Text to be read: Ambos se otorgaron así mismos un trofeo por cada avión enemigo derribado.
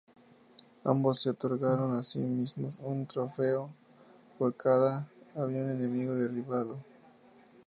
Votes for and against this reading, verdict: 4, 0, accepted